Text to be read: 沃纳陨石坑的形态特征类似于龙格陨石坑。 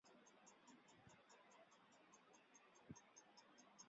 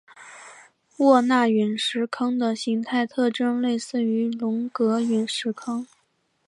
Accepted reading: second